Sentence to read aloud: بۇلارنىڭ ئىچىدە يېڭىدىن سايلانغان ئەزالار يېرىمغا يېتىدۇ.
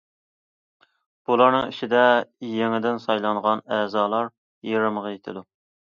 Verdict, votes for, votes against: accepted, 2, 0